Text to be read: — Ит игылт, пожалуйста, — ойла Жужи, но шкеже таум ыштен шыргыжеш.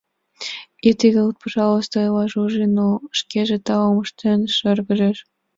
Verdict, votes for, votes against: accepted, 2, 0